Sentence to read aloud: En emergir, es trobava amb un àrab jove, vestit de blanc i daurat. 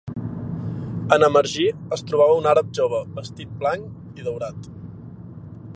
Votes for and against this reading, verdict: 1, 3, rejected